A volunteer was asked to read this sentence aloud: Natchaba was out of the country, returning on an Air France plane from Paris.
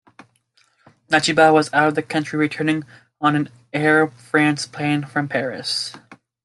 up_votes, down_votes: 2, 0